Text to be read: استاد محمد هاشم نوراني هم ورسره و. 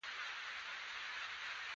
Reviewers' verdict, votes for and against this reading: rejected, 0, 2